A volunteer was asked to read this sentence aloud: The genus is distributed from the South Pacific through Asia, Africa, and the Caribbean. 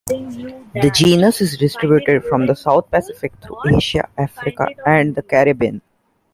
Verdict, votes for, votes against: rejected, 0, 2